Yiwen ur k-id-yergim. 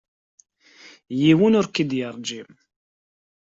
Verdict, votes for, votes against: rejected, 0, 2